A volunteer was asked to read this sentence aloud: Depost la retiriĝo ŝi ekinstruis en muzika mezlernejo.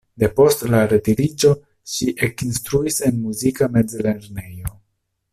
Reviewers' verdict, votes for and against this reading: rejected, 1, 2